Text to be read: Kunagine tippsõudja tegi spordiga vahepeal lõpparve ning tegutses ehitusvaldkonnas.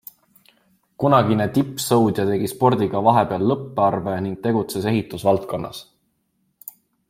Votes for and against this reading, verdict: 2, 0, accepted